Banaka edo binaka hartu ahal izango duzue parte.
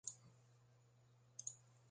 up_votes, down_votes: 0, 2